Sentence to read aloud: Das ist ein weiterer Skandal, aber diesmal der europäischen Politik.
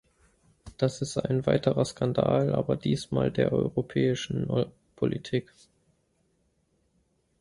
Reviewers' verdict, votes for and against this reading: rejected, 0, 3